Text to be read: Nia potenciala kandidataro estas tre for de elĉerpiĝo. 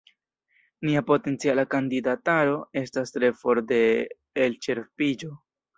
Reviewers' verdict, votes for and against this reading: accepted, 2, 0